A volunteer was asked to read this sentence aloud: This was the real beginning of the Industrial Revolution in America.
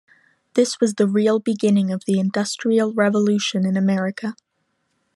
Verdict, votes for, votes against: accepted, 2, 0